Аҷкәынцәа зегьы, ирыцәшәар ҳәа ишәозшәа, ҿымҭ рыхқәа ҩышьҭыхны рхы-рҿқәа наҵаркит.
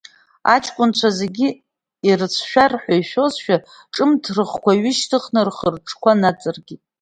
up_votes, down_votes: 0, 2